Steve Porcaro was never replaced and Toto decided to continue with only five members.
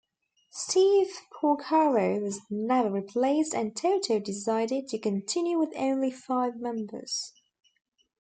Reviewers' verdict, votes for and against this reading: accepted, 2, 1